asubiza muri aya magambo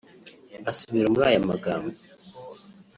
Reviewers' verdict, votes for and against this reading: rejected, 0, 2